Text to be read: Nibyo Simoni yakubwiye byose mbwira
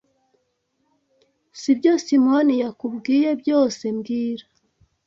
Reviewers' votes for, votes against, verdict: 2, 1, accepted